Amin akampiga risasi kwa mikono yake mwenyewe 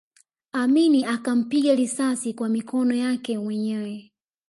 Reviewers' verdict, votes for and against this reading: rejected, 0, 2